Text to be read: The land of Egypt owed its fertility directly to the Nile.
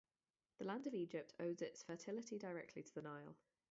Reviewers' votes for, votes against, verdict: 2, 0, accepted